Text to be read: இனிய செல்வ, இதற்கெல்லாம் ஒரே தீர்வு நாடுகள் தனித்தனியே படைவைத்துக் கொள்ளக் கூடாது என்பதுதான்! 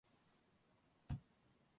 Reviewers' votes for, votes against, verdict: 0, 2, rejected